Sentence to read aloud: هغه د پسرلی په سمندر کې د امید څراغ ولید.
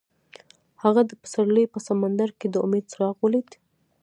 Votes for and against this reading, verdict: 0, 2, rejected